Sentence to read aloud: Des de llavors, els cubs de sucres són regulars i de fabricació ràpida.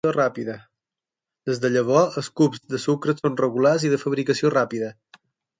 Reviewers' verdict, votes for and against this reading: rejected, 0, 6